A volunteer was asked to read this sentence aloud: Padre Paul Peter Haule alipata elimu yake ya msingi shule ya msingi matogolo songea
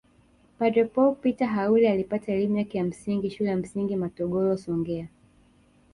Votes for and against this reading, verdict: 1, 2, rejected